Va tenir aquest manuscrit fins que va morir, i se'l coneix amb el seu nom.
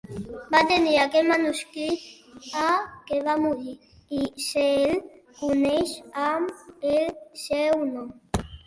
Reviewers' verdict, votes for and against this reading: rejected, 1, 2